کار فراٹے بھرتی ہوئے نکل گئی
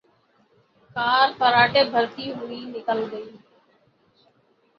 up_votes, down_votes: 3, 6